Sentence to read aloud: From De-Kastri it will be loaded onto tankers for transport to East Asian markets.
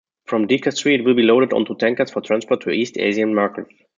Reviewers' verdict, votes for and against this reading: accepted, 2, 0